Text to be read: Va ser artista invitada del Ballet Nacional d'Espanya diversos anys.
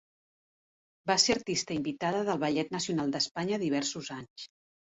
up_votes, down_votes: 1, 2